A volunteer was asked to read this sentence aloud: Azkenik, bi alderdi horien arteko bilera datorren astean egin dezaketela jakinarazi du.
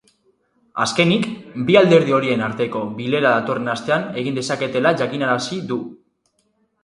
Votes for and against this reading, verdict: 2, 4, rejected